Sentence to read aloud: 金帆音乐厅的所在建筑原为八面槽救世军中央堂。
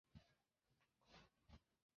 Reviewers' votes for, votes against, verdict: 1, 2, rejected